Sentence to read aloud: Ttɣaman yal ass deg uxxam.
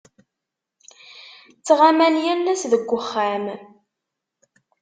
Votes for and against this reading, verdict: 2, 0, accepted